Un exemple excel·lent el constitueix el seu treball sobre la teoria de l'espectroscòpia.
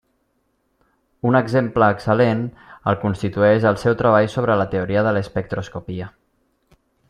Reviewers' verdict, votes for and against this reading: rejected, 1, 2